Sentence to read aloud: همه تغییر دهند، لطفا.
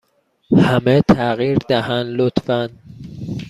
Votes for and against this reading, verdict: 2, 1, accepted